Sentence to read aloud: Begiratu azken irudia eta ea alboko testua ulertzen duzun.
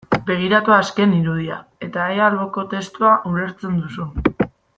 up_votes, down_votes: 2, 0